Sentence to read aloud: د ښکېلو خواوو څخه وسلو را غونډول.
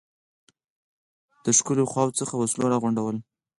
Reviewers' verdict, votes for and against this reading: accepted, 4, 2